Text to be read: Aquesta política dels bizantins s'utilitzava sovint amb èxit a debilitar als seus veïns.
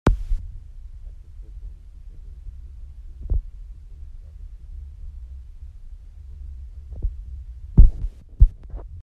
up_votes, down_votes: 0, 2